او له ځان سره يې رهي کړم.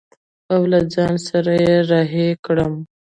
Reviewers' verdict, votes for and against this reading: accepted, 2, 1